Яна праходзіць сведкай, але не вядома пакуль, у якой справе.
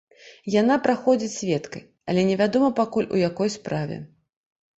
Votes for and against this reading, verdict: 2, 0, accepted